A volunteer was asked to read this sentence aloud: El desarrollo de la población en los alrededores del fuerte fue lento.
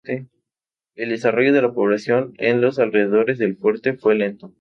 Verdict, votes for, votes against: accepted, 2, 0